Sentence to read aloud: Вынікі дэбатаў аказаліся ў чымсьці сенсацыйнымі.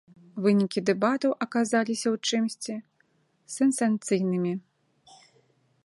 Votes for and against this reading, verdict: 0, 2, rejected